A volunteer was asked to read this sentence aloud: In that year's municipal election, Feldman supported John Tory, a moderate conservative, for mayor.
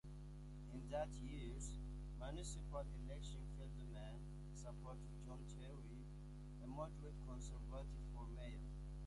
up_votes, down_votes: 0, 2